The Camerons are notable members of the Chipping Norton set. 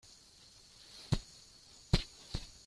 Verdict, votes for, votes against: rejected, 0, 2